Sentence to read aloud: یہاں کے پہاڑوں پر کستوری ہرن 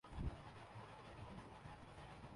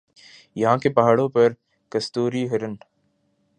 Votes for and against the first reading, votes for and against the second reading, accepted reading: 2, 3, 2, 0, second